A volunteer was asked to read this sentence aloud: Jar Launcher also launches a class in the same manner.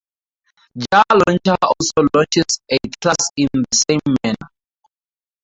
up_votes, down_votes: 2, 2